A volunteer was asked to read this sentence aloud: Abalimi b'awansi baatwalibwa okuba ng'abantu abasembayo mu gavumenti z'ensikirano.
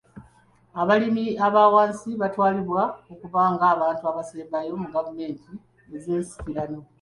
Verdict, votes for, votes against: rejected, 1, 3